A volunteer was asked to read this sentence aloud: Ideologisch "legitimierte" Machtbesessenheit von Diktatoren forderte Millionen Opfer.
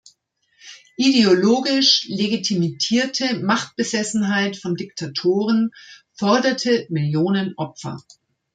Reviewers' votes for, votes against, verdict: 1, 2, rejected